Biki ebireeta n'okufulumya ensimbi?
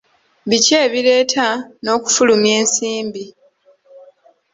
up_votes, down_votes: 1, 2